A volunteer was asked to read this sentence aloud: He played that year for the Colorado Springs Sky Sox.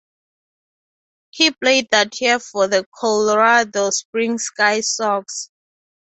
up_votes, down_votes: 2, 0